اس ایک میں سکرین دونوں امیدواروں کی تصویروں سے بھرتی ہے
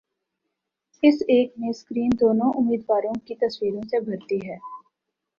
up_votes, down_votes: 2, 0